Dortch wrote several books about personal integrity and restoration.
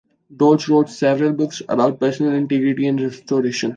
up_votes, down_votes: 2, 0